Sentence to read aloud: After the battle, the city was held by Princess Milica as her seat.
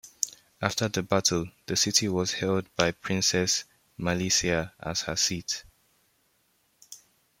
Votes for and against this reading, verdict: 1, 2, rejected